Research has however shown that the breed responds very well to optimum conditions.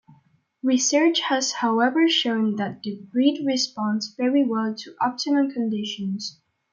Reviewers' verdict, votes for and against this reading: accepted, 2, 0